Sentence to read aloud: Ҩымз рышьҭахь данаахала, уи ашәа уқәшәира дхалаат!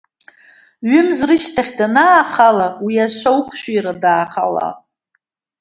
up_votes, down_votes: 3, 1